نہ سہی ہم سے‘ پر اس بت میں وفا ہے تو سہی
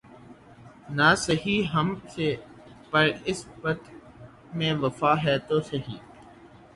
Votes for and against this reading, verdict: 3, 6, rejected